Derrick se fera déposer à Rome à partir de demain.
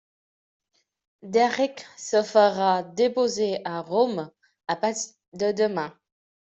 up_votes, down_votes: 0, 2